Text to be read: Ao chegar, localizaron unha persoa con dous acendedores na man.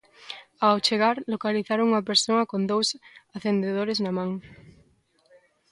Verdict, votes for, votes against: accepted, 2, 0